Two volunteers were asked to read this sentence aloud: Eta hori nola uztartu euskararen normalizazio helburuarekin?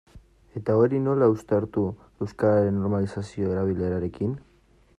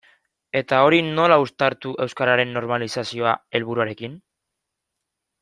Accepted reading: second